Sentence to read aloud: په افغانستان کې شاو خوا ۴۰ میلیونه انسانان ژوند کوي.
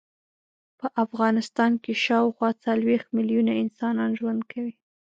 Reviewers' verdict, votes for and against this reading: rejected, 0, 2